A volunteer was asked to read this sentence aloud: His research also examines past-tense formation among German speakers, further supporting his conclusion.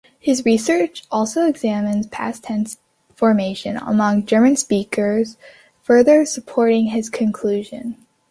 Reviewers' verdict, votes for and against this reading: accepted, 2, 0